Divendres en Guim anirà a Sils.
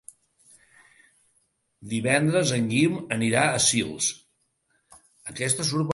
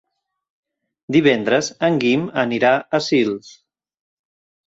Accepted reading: second